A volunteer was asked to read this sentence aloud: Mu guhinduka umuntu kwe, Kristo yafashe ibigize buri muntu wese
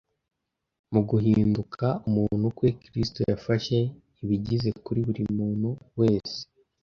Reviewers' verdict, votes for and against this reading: rejected, 1, 2